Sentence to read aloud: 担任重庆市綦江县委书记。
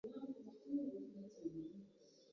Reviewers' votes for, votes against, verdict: 0, 2, rejected